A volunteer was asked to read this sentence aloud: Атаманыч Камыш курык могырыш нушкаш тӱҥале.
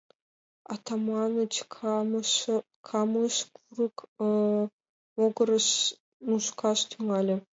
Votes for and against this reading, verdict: 1, 2, rejected